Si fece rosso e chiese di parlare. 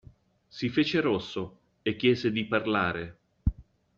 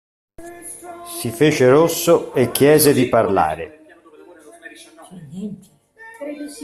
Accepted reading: first